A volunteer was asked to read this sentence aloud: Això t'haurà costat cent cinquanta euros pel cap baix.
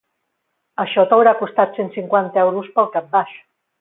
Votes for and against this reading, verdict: 2, 0, accepted